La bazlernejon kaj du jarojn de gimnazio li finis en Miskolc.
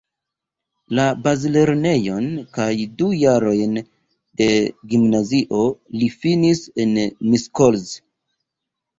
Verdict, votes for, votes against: rejected, 0, 2